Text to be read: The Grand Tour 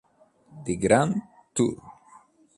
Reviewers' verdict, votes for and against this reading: rejected, 1, 2